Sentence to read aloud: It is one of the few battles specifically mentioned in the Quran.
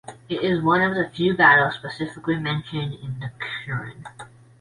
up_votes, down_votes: 0, 2